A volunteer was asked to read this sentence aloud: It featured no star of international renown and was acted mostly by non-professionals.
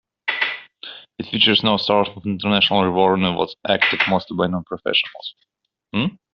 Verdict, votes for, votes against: rejected, 0, 2